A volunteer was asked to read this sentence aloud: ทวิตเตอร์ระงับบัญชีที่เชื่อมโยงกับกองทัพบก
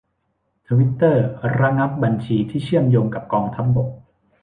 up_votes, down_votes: 2, 0